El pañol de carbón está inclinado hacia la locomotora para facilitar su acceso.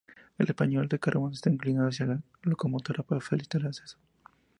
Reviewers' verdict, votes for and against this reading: accepted, 2, 0